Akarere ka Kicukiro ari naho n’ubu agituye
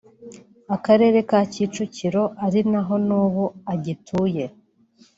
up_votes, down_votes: 3, 0